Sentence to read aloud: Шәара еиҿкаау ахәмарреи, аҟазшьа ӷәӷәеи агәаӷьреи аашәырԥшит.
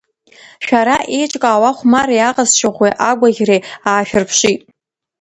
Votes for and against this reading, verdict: 1, 2, rejected